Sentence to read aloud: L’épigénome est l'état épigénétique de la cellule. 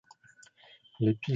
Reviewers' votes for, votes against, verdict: 0, 2, rejected